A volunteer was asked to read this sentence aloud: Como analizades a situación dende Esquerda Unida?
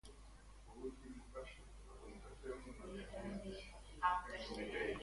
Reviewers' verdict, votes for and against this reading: rejected, 0, 2